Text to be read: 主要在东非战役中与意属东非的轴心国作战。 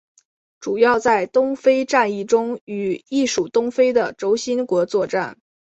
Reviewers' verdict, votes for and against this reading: accepted, 7, 1